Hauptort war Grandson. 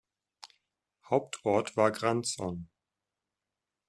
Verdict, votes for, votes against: accepted, 2, 0